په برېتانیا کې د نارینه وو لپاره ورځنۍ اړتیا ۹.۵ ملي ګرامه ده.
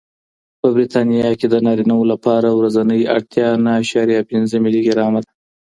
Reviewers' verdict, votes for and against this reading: rejected, 0, 2